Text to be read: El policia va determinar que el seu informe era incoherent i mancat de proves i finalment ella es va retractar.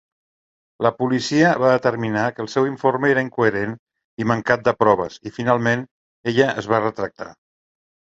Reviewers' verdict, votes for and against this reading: rejected, 1, 2